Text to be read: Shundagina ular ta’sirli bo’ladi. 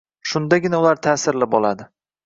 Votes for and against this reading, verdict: 2, 0, accepted